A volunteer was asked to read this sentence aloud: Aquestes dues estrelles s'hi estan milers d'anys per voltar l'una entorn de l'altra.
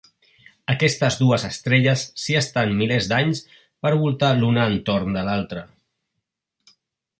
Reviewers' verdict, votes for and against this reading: accepted, 2, 0